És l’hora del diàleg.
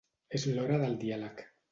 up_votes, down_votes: 2, 0